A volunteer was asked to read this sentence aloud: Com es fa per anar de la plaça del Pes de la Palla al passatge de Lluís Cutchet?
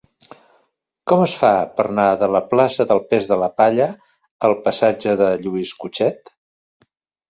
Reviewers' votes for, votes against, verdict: 0, 2, rejected